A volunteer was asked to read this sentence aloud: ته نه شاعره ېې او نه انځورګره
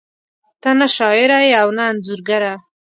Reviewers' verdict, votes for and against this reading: accepted, 2, 0